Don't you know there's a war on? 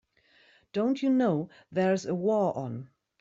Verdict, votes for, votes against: accepted, 3, 0